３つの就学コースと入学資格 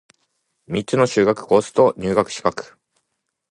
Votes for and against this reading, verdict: 0, 2, rejected